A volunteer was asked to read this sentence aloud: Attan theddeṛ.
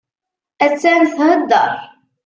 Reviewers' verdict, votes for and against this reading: accepted, 2, 0